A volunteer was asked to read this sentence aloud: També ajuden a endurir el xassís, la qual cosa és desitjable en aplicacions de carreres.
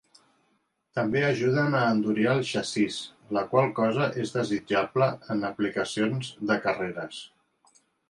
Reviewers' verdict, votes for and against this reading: accepted, 3, 0